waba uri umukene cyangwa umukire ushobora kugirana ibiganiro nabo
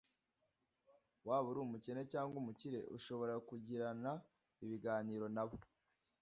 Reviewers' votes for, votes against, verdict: 2, 0, accepted